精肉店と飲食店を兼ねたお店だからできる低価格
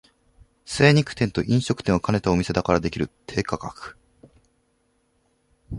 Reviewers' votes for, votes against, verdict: 2, 0, accepted